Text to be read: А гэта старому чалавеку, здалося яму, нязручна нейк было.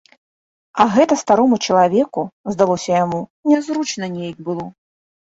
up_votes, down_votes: 2, 0